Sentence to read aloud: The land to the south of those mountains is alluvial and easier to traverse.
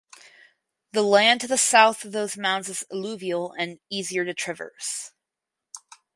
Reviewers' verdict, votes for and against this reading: accepted, 4, 2